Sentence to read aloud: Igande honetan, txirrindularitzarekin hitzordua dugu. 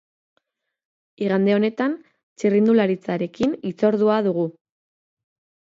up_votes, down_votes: 4, 0